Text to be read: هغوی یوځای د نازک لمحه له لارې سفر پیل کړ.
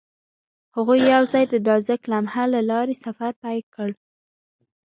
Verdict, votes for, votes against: accepted, 2, 0